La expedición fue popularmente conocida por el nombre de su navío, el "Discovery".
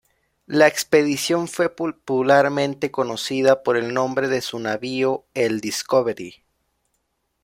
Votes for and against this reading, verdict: 1, 2, rejected